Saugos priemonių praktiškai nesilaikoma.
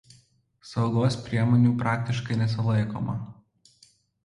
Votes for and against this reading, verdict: 2, 0, accepted